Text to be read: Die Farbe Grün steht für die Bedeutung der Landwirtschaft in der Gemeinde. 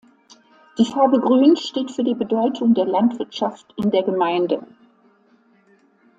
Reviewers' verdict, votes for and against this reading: accepted, 2, 0